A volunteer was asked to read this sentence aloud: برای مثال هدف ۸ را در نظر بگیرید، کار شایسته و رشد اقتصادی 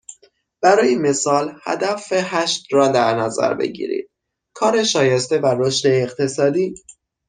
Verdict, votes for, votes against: rejected, 0, 2